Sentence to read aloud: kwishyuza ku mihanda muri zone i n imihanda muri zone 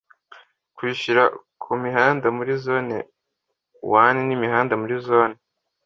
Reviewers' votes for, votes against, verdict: 1, 2, rejected